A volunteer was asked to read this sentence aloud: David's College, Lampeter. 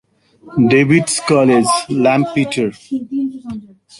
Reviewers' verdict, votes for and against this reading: rejected, 1, 2